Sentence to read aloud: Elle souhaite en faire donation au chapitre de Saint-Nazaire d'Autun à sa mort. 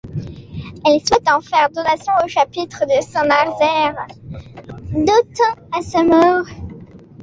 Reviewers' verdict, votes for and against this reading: rejected, 0, 2